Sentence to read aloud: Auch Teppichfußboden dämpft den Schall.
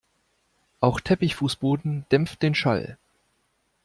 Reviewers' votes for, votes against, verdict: 2, 0, accepted